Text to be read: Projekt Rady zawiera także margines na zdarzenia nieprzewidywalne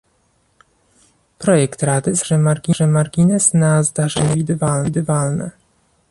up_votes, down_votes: 0, 2